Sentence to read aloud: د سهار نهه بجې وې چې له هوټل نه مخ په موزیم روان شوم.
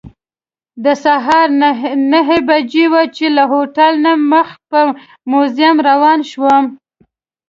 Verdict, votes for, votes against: accepted, 2, 0